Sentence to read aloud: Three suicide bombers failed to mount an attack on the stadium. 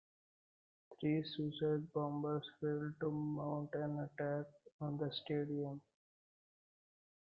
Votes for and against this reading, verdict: 2, 1, accepted